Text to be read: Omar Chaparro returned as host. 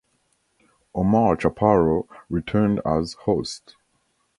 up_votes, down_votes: 2, 0